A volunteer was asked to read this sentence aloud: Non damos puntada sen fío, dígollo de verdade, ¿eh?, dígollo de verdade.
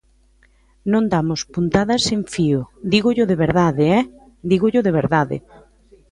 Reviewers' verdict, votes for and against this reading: accepted, 2, 0